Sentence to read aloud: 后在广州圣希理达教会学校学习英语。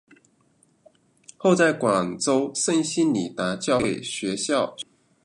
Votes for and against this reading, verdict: 0, 2, rejected